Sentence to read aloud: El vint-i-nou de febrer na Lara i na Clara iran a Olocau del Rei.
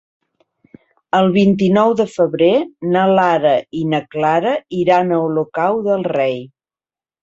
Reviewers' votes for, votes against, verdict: 2, 0, accepted